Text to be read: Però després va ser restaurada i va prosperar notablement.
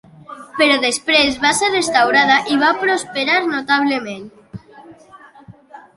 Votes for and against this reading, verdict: 2, 0, accepted